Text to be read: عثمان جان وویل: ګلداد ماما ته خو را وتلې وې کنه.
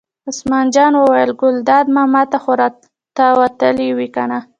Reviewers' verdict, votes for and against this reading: accepted, 2, 0